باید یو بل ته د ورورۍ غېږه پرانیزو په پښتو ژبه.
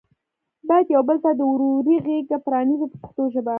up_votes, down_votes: 1, 3